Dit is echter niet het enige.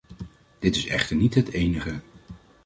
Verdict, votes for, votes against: accepted, 2, 0